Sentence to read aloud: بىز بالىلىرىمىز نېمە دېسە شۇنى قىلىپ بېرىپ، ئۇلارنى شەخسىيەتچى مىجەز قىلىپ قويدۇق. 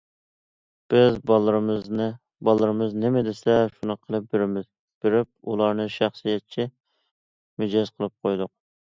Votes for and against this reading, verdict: 0, 2, rejected